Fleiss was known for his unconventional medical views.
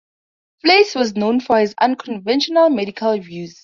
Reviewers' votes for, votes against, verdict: 2, 2, rejected